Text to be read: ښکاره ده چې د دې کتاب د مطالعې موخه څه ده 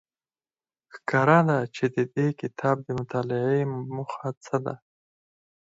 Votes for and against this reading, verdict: 4, 0, accepted